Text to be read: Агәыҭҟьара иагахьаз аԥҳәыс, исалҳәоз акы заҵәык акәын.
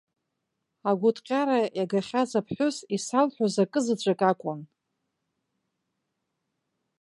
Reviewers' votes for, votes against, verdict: 2, 1, accepted